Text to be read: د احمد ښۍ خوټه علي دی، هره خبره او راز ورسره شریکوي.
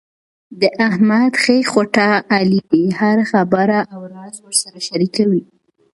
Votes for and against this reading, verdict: 2, 0, accepted